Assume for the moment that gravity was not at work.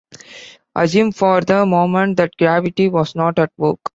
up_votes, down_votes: 2, 0